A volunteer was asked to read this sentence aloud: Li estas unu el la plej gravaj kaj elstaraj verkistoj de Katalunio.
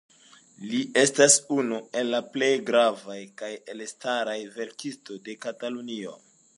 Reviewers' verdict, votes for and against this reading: rejected, 0, 2